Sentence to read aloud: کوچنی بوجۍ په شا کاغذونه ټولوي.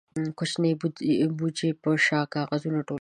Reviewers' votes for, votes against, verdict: 0, 2, rejected